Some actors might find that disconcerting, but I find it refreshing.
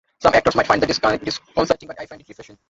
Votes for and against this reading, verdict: 0, 2, rejected